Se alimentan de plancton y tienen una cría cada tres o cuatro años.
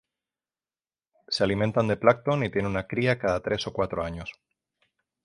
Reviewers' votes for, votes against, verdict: 3, 3, rejected